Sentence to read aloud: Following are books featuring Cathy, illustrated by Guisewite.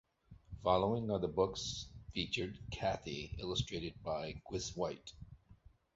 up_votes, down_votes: 1, 2